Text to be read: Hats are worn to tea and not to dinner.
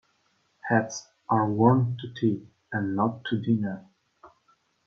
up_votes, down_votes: 2, 0